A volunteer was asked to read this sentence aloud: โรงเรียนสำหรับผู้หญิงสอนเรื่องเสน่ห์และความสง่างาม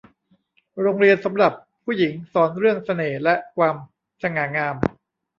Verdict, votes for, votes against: rejected, 0, 2